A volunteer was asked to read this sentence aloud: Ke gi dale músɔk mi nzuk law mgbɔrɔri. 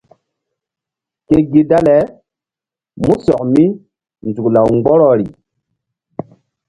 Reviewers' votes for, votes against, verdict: 2, 0, accepted